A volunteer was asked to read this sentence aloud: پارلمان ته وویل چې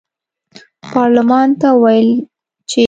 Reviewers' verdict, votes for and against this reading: accepted, 2, 1